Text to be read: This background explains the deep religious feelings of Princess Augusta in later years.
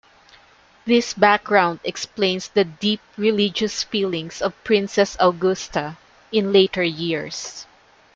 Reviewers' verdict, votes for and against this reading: rejected, 1, 2